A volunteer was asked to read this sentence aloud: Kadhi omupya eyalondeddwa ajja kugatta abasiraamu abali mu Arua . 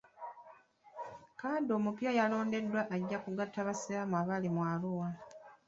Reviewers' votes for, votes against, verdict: 0, 2, rejected